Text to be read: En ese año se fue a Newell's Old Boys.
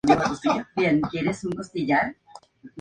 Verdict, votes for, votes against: rejected, 0, 2